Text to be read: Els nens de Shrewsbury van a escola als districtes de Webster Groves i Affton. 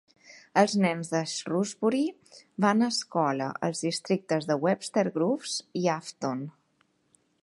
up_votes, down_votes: 2, 0